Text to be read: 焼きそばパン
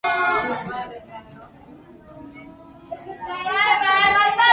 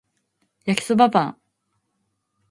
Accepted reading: second